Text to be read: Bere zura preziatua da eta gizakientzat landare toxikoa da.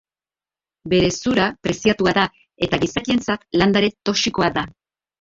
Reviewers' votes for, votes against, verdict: 0, 2, rejected